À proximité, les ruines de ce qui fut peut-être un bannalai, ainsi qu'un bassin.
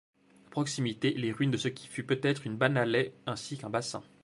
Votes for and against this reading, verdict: 1, 2, rejected